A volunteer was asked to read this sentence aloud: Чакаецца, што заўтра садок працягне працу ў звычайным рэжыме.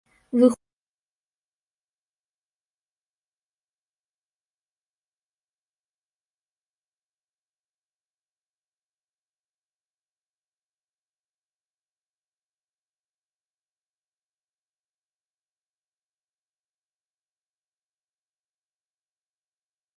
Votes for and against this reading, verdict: 0, 2, rejected